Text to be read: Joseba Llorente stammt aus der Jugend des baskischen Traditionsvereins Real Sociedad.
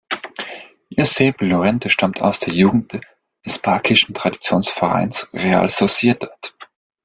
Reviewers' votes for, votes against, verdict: 0, 2, rejected